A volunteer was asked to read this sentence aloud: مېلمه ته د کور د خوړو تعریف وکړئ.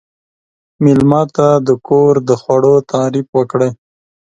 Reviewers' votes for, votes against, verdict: 2, 0, accepted